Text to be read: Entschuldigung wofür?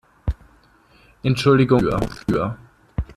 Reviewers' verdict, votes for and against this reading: rejected, 0, 2